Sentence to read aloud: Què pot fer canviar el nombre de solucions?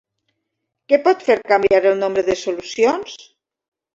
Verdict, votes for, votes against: rejected, 0, 2